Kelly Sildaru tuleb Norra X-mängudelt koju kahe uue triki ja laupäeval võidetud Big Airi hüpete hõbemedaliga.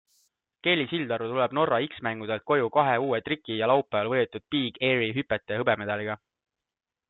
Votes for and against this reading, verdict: 2, 0, accepted